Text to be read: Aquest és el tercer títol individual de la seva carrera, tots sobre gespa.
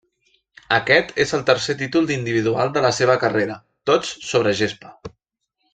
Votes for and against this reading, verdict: 0, 2, rejected